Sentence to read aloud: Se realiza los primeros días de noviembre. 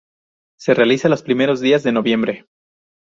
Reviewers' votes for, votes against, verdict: 0, 2, rejected